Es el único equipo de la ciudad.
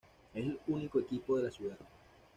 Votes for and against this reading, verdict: 1, 2, rejected